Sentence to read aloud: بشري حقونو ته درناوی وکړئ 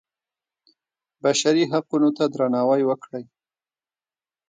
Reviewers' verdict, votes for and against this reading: rejected, 0, 2